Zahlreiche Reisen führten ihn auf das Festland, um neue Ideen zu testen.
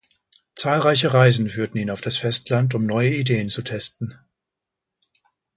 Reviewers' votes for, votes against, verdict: 2, 0, accepted